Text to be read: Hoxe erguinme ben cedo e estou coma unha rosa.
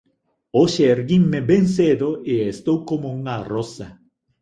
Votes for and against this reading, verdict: 1, 2, rejected